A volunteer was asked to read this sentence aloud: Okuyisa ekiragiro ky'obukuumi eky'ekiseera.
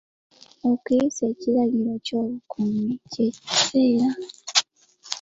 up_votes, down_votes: 2, 1